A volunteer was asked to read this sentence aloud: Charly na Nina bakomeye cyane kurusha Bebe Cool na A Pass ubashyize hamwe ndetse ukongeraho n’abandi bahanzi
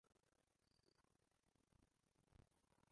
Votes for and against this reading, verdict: 0, 2, rejected